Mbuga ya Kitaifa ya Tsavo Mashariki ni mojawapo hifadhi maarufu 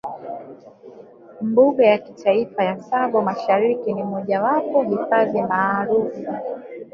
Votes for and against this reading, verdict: 2, 0, accepted